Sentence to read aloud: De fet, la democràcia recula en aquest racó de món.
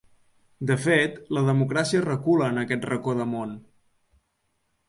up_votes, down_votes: 2, 0